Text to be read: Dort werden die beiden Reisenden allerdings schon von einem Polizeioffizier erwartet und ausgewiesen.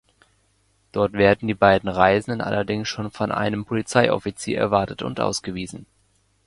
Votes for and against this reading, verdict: 2, 0, accepted